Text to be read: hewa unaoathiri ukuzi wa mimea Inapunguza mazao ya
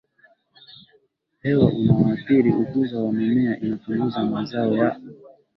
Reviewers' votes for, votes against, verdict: 3, 1, accepted